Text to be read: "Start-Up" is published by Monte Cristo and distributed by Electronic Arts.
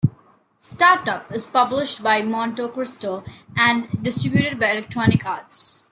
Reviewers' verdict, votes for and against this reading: rejected, 0, 2